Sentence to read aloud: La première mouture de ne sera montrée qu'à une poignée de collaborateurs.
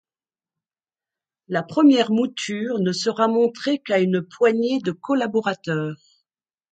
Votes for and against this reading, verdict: 1, 2, rejected